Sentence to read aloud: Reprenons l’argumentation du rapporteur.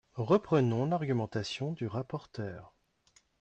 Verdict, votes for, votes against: accepted, 2, 0